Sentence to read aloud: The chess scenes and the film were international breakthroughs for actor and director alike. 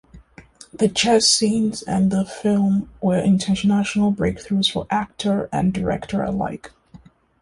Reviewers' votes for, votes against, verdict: 0, 2, rejected